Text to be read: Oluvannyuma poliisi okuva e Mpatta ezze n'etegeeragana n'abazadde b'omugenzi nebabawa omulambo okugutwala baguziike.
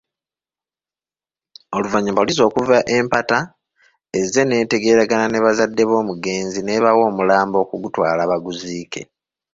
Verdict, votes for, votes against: rejected, 1, 2